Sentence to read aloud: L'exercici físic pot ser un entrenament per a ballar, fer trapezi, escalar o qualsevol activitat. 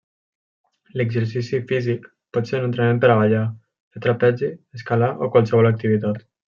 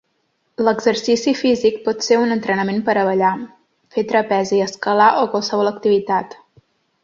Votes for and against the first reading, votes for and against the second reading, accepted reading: 1, 2, 4, 0, second